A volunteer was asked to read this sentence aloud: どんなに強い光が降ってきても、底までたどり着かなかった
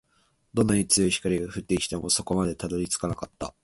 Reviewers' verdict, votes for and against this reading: accepted, 2, 0